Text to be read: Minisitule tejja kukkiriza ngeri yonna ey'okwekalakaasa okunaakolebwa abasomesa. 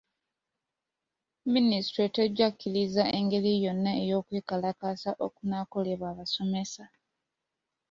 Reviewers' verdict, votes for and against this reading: accepted, 2, 1